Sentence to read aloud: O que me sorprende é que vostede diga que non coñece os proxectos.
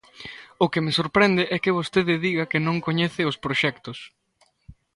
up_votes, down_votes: 2, 0